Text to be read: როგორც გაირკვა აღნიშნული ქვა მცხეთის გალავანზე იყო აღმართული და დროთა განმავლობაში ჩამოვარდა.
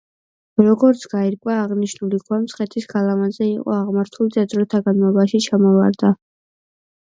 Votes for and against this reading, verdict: 2, 0, accepted